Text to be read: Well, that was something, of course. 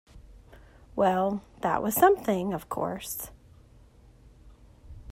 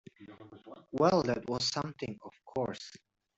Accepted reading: first